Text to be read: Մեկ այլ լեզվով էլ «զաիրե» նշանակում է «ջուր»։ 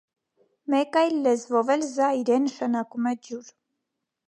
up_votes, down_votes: 1, 2